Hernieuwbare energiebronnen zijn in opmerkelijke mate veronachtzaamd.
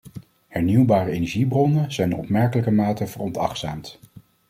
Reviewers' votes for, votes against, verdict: 0, 2, rejected